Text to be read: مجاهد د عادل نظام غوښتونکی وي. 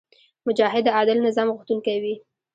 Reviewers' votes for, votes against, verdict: 1, 2, rejected